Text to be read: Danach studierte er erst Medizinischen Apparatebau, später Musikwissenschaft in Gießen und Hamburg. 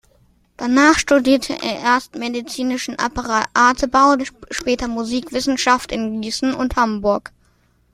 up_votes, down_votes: 1, 2